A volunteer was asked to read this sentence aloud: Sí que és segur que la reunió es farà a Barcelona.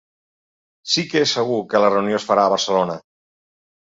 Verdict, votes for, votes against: accepted, 4, 0